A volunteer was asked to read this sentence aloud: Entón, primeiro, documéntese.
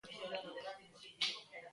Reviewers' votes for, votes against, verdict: 0, 2, rejected